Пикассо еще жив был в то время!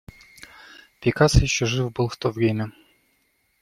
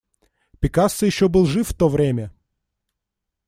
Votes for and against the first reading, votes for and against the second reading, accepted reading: 2, 0, 1, 2, first